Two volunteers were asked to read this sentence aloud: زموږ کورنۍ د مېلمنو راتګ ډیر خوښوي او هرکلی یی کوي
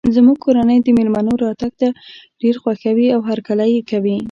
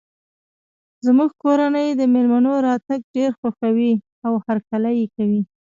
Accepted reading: second